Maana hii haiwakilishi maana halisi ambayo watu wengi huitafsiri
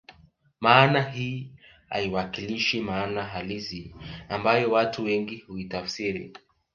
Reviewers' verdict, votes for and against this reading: accepted, 2, 0